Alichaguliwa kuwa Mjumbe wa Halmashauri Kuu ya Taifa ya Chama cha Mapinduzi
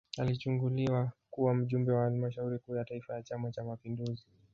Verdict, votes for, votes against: rejected, 1, 2